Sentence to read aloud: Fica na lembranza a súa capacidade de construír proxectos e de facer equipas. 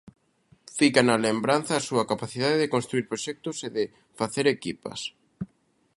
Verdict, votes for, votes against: accepted, 2, 0